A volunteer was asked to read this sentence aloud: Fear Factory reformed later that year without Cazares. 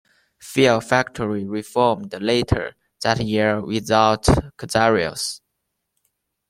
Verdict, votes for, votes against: accepted, 2, 0